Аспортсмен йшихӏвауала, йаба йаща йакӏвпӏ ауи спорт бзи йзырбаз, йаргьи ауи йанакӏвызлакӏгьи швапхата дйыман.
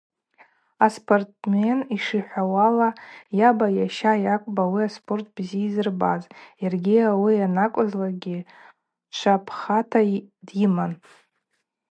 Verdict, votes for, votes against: rejected, 0, 2